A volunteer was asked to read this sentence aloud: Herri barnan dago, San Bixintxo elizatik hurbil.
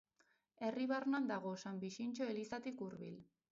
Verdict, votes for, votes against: rejected, 2, 2